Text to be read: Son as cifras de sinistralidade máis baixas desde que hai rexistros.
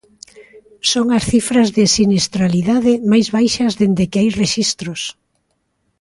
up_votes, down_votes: 1, 2